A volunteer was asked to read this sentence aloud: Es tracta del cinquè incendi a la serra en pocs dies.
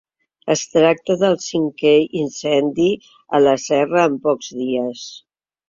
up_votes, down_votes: 3, 0